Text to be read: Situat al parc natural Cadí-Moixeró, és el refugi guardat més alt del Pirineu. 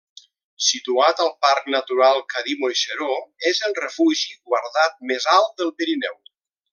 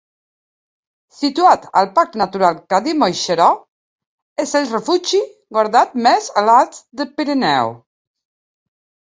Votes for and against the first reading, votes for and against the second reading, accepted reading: 2, 0, 1, 2, first